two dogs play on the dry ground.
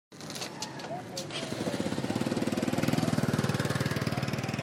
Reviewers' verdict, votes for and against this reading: rejected, 0, 2